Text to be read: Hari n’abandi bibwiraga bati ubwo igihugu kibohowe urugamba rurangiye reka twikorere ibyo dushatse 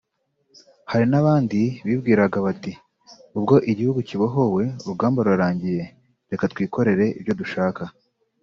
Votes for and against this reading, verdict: 0, 2, rejected